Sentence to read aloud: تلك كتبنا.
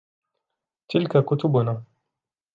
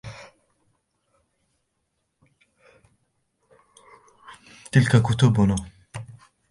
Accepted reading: first